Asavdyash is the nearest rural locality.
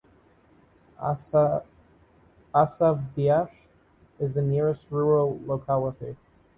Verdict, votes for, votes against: rejected, 1, 2